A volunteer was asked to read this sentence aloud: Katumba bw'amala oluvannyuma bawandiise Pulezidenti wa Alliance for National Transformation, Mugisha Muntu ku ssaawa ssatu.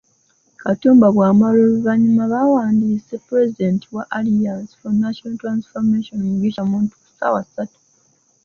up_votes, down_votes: 1, 2